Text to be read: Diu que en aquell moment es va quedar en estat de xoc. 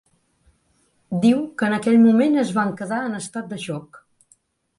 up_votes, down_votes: 1, 2